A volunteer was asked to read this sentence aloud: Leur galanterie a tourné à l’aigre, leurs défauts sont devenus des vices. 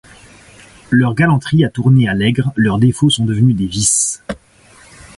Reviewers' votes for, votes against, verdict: 2, 0, accepted